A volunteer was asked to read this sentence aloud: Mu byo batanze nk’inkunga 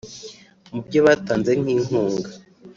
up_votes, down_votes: 3, 0